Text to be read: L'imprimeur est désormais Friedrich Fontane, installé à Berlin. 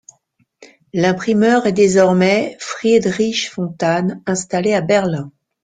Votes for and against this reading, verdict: 2, 1, accepted